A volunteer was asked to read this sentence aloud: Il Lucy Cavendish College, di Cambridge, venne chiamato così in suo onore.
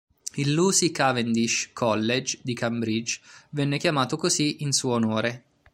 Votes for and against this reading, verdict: 0, 2, rejected